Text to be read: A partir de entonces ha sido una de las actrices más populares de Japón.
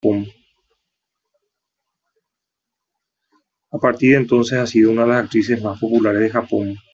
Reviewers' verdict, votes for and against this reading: rejected, 1, 2